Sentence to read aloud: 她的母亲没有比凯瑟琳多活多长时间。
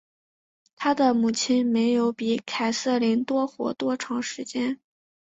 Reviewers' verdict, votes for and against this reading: accepted, 4, 0